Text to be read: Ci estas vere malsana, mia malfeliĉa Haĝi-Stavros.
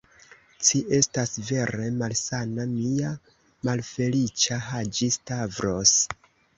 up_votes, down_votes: 1, 2